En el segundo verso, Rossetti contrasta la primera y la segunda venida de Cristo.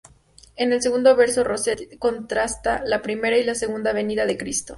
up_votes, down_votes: 4, 0